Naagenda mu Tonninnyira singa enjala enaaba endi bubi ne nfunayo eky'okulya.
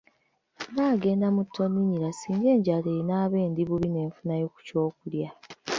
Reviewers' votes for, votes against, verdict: 0, 2, rejected